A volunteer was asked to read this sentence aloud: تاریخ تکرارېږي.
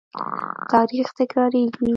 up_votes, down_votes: 1, 2